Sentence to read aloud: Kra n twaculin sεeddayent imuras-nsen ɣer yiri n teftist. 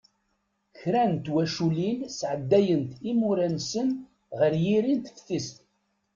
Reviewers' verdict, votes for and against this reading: rejected, 0, 2